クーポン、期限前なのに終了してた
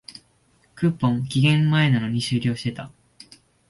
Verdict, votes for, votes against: accepted, 24, 1